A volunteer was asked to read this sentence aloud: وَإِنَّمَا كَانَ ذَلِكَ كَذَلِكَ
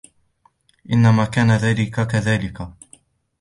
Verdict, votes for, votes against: rejected, 0, 2